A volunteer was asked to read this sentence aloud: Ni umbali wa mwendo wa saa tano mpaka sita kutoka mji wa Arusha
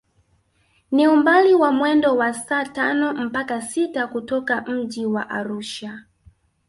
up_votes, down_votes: 4, 0